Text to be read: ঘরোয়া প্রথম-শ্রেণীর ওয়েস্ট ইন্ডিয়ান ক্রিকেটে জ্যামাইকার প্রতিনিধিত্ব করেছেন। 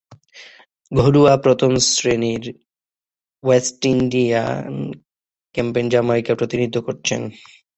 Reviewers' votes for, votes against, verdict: 0, 6, rejected